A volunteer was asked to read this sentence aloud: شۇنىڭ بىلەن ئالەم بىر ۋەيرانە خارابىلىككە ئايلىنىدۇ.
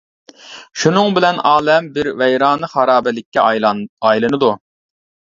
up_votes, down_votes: 1, 2